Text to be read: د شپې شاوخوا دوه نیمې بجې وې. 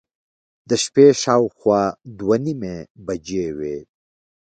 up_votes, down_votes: 2, 1